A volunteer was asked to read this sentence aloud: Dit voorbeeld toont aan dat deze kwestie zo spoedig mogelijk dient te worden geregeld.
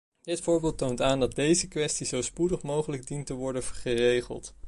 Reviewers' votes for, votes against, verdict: 1, 2, rejected